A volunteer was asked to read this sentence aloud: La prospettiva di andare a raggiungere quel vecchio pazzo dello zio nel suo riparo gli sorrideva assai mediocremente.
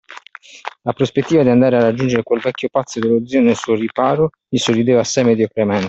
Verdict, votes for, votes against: rejected, 1, 2